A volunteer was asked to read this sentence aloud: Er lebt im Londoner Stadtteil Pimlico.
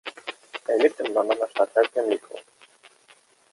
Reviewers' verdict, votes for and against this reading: accepted, 2, 0